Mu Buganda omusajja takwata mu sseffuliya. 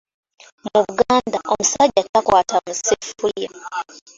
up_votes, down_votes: 1, 2